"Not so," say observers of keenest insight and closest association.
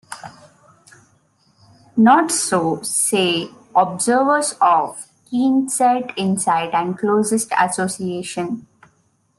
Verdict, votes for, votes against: accepted, 2, 0